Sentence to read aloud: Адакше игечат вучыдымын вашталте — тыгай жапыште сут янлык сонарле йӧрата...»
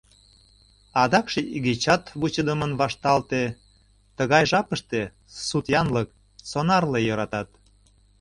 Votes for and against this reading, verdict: 0, 2, rejected